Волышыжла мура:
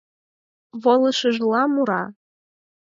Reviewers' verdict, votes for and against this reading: accepted, 4, 0